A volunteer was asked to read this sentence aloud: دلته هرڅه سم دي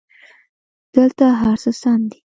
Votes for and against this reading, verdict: 2, 0, accepted